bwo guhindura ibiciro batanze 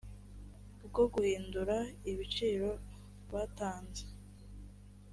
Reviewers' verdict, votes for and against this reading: accepted, 3, 0